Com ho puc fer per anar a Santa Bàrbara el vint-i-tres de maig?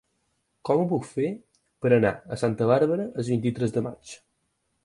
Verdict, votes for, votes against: accepted, 4, 0